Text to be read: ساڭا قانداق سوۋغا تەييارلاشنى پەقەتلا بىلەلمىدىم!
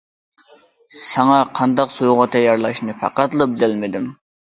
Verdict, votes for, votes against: accepted, 2, 1